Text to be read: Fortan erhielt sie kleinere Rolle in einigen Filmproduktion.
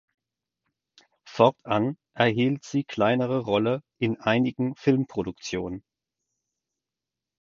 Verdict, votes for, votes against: accepted, 4, 2